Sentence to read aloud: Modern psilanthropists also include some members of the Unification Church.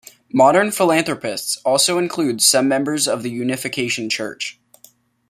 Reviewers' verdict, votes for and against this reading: rejected, 1, 2